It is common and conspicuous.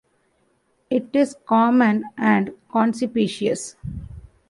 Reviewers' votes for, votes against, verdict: 0, 2, rejected